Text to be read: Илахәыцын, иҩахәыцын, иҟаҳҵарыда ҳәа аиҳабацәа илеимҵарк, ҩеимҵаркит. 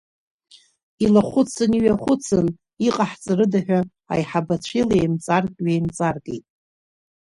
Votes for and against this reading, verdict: 2, 0, accepted